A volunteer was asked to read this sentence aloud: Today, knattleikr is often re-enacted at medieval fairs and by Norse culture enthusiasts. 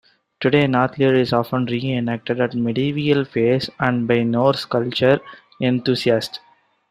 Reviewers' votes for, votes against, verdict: 2, 0, accepted